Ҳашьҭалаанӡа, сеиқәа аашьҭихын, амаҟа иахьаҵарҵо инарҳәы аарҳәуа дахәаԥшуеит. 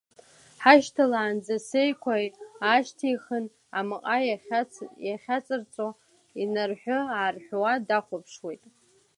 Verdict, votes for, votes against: rejected, 1, 2